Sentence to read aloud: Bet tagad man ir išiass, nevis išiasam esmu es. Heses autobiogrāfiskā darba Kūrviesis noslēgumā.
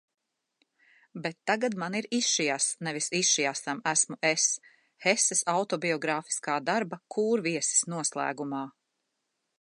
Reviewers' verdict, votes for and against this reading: accepted, 2, 0